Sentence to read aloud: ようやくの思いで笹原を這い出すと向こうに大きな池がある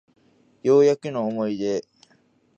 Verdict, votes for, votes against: rejected, 0, 2